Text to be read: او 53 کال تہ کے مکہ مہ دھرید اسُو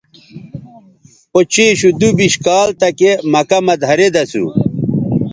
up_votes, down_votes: 0, 2